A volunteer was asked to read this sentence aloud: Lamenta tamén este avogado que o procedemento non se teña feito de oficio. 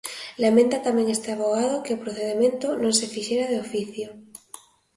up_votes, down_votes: 2, 1